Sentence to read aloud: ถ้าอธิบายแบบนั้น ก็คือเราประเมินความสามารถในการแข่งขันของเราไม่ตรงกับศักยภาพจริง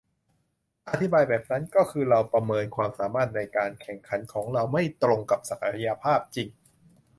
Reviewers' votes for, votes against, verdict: 1, 2, rejected